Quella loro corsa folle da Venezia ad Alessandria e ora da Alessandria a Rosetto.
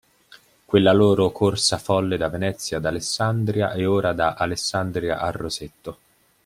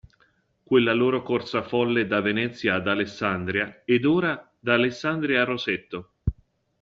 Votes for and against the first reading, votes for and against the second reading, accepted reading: 2, 0, 1, 2, first